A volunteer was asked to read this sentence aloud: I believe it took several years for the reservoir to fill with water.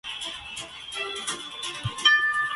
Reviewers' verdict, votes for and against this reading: rejected, 0, 2